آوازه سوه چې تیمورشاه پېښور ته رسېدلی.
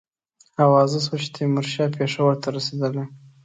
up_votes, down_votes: 2, 1